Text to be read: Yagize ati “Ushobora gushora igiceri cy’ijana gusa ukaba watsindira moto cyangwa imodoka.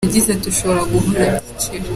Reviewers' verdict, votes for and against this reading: rejected, 0, 2